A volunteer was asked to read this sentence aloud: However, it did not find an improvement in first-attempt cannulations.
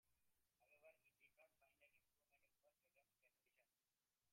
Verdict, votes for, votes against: rejected, 0, 2